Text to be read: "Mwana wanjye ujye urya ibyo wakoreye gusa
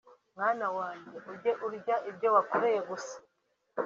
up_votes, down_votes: 3, 0